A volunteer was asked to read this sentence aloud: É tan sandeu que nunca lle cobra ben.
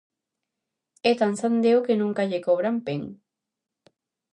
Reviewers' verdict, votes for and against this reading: rejected, 0, 2